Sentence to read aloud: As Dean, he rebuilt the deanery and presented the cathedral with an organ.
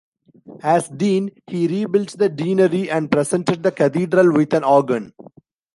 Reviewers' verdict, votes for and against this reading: rejected, 1, 2